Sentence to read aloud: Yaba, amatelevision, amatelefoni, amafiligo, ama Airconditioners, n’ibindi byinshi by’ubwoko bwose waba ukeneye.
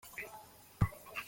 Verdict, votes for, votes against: rejected, 0, 3